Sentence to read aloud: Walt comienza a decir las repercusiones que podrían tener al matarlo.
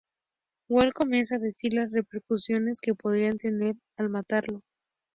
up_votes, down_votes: 2, 0